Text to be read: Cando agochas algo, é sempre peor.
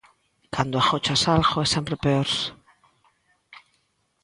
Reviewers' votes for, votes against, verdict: 2, 0, accepted